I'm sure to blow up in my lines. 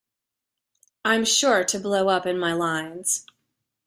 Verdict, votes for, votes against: accepted, 2, 0